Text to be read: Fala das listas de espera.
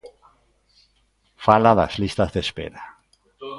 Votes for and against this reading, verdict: 2, 0, accepted